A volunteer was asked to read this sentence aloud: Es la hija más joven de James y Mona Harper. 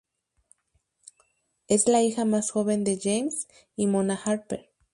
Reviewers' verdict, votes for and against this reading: rejected, 0, 2